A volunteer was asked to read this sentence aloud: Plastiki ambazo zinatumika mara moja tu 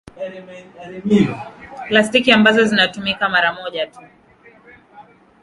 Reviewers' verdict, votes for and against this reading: accepted, 2, 0